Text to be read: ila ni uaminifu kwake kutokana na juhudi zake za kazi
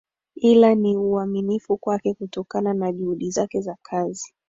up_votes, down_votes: 1, 2